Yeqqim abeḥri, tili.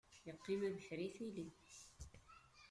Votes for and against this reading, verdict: 1, 2, rejected